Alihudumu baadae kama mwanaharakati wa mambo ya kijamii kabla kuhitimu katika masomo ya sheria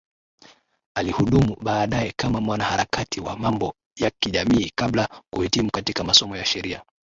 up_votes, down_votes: 5, 2